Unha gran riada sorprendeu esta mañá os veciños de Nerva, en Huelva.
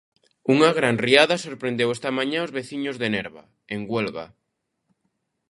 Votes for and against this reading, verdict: 2, 0, accepted